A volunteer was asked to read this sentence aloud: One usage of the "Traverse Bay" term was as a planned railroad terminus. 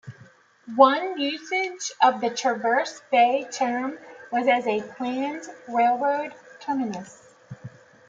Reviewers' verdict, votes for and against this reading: rejected, 0, 2